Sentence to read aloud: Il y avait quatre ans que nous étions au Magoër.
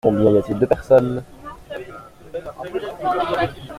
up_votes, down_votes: 0, 2